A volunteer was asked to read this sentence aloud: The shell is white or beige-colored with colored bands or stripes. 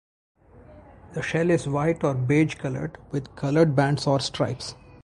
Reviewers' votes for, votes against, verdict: 4, 0, accepted